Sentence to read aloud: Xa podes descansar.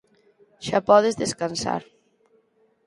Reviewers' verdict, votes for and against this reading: accepted, 4, 0